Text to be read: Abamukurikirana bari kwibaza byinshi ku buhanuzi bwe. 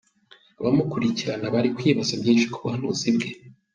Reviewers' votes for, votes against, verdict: 2, 0, accepted